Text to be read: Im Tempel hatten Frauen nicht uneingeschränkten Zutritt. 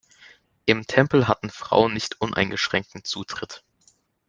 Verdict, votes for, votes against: accepted, 3, 0